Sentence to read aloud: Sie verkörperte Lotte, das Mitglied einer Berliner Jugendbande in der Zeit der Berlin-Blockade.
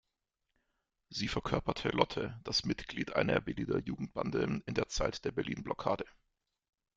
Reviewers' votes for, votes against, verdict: 1, 2, rejected